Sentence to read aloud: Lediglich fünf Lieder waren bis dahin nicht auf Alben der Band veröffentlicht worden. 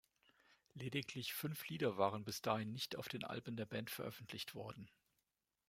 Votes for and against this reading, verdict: 1, 2, rejected